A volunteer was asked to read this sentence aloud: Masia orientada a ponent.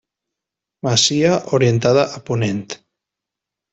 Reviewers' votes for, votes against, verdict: 1, 2, rejected